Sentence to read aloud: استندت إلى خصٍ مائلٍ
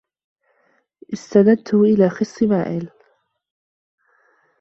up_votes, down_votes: 1, 2